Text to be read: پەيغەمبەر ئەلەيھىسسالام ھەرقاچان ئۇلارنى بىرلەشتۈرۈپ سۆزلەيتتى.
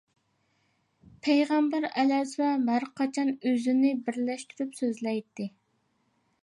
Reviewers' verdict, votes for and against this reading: rejected, 0, 2